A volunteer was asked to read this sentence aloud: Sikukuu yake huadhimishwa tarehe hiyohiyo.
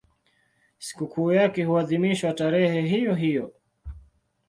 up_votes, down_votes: 2, 0